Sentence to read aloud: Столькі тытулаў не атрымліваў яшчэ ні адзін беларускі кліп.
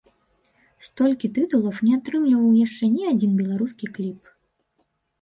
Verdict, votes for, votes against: rejected, 1, 3